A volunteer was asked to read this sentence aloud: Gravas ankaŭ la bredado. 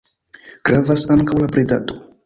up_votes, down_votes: 2, 1